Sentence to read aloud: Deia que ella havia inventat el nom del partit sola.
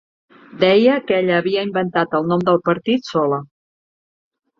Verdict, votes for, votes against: accepted, 3, 0